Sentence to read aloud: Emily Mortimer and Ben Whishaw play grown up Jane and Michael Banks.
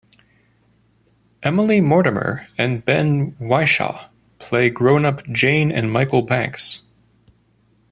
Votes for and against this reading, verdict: 2, 0, accepted